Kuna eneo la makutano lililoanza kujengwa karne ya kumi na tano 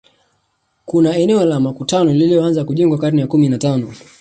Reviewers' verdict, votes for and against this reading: rejected, 1, 2